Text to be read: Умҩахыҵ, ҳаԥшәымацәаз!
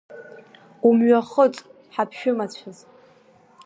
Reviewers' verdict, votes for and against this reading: accepted, 2, 0